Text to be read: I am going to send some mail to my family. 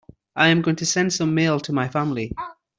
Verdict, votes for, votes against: accepted, 2, 0